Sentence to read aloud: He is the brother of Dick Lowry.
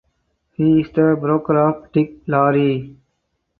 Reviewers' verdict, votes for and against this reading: rejected, 0, 4